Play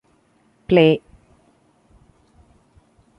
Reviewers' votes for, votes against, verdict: 2, 0, accepted